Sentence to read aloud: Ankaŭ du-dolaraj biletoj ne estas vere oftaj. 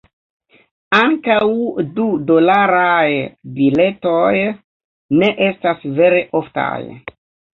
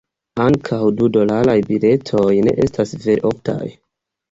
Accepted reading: second